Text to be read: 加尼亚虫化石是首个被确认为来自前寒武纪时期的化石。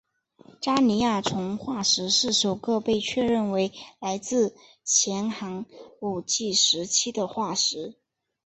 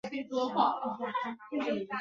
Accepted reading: first